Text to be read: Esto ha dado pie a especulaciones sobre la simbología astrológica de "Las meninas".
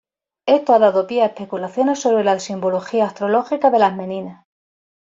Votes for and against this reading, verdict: 1, 2, rejected